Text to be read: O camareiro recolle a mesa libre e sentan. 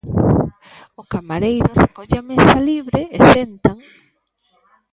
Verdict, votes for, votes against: rejected, 1, 2